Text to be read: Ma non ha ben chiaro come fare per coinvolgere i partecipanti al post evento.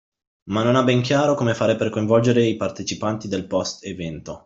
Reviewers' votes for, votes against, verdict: 0, 2, rejected